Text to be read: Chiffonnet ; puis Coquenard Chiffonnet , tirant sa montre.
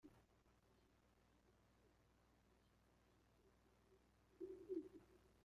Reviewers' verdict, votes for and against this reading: rejected, 0, 2